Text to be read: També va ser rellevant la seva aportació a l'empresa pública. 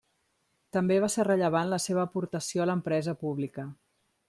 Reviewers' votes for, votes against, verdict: 0, 2, rejected